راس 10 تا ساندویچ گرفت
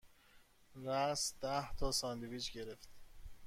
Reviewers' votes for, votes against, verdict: 0, 2, rejected